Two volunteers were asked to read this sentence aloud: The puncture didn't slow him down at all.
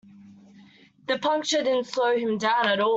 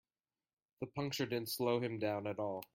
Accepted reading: second